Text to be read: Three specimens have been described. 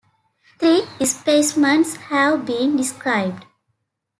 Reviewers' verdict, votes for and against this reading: rejected, 0, 2